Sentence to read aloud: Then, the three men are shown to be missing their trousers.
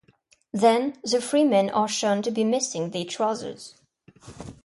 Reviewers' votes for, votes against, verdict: 0, 2, rejected